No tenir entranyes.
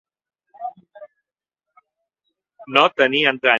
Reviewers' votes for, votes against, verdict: 0, 2, rejected